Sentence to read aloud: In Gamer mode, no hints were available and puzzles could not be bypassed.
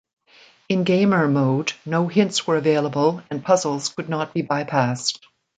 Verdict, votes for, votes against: rejected, 1, 2